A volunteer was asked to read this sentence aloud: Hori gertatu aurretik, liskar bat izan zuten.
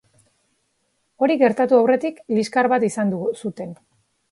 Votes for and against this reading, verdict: 0, 3, rejected